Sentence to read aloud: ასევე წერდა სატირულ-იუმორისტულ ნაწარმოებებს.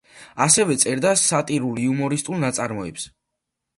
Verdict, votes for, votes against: rejected, 1, 2